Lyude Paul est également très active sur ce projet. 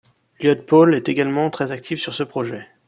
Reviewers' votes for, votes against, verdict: 0, 2, rejected